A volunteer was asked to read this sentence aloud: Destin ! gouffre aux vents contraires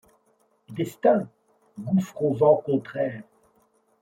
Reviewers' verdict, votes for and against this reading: accepted, 2, 0